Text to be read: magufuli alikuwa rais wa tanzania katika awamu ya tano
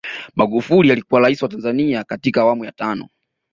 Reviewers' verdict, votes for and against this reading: accepted, 2, 0